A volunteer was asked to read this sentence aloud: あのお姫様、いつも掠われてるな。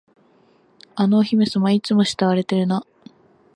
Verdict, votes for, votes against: accepted, 11, 5